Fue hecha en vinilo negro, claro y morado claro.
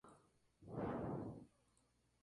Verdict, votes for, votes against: rejected, 0, 2